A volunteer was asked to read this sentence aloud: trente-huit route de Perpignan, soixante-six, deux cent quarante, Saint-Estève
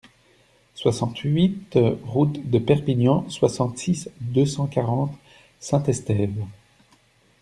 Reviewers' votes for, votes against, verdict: 1, 2, rejected